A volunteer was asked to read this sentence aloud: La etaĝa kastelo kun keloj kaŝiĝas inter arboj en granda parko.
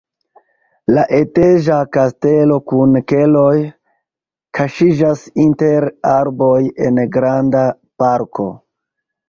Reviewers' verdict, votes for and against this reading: rejected, 0, 2